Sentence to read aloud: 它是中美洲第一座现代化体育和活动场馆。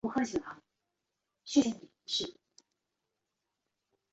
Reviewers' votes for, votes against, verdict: 0, 2, rejected